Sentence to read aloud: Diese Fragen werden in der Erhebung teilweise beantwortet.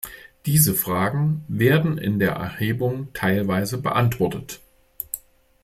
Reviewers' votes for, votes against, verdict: 2, 0, accepted